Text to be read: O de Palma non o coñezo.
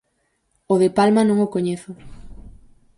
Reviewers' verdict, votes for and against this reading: accepted, 4, 0